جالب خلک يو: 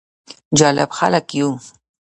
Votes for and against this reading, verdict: 1, 3, rejected